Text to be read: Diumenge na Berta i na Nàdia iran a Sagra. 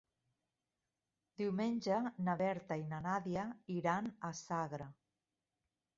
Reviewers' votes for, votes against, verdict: 0, 2, rejected